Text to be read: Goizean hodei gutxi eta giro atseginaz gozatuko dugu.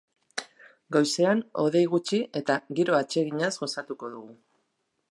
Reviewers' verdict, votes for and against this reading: accepted, 2, 0